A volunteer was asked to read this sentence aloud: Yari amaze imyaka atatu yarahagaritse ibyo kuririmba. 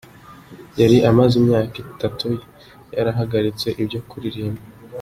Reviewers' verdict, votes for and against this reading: accepted, 2, 1